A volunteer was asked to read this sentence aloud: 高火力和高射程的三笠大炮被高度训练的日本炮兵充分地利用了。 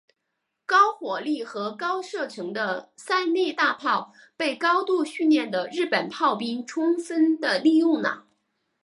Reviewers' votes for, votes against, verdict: 4, 1, accepted